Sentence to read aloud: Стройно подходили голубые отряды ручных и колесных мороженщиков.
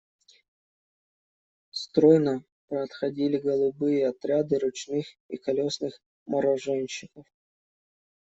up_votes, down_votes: 1, 2